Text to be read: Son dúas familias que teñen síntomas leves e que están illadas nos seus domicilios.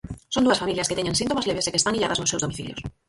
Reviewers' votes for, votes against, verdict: 0, 4, rejected